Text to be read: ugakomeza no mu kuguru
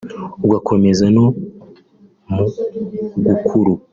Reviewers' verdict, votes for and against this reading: rejected, 1, 2